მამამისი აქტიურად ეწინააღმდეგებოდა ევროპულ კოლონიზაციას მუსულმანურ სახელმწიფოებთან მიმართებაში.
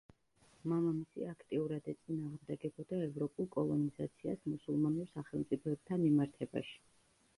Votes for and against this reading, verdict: 0, 2, rejected